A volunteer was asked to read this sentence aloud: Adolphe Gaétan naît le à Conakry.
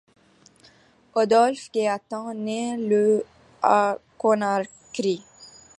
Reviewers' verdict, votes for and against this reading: rejected, 1, 2